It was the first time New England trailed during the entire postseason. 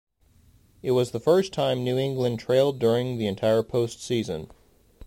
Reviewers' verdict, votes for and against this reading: accepted, 2, 0